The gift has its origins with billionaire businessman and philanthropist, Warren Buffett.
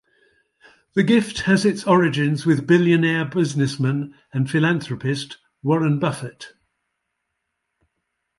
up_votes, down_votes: 2, 0